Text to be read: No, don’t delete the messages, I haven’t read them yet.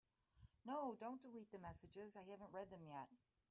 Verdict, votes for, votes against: accepted, 2, 0